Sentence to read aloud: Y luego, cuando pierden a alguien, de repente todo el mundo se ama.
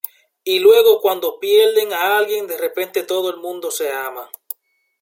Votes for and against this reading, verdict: 2, 1, accepted